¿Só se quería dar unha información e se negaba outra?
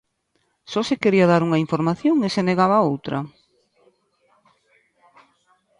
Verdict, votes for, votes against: accepted, 2, 0